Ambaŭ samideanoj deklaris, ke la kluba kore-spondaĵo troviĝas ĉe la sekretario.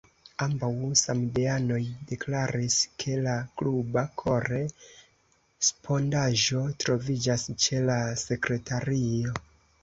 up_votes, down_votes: 2, 0